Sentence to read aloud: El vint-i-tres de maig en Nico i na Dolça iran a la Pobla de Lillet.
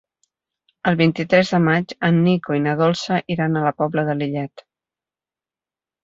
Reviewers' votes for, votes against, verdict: 3, 0, accepted